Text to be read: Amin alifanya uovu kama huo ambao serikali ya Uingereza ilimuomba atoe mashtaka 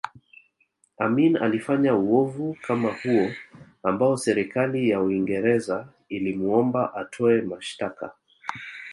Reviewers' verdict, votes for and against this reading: accepted, 2, 1